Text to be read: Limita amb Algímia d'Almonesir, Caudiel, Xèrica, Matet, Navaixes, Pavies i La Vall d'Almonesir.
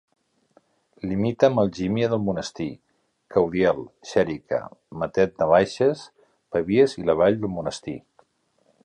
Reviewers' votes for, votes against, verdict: 1, 2, rejected